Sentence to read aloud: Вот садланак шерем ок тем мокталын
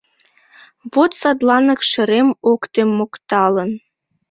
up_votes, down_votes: 2, 1